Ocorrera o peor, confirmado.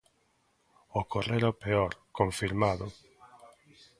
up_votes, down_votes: 2, 0